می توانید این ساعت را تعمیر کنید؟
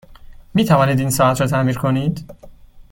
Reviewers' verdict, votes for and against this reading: accepted, 2, 0